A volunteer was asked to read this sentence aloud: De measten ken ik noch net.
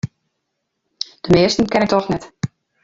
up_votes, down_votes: 0, 2